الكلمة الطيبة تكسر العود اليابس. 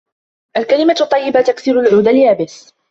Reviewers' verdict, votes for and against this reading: accepted, 2, 0